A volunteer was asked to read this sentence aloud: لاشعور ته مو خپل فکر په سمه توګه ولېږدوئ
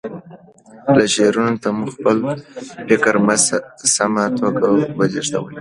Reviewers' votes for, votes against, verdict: 2, 1, accepted